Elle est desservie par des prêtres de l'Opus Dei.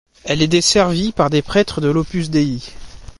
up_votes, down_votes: 2, 0